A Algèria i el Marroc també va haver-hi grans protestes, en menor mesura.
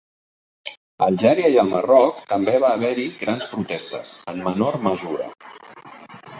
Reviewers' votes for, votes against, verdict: 2, 0, accepted